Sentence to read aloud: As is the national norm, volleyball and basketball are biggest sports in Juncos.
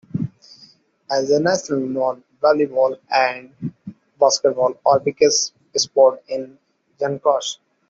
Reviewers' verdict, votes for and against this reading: rejected, 0, 2